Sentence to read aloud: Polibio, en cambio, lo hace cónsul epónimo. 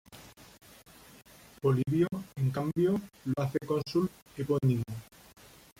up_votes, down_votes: 0, 2